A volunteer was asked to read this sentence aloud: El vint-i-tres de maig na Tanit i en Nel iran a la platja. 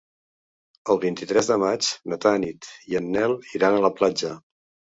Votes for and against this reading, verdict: 3, 1, accepted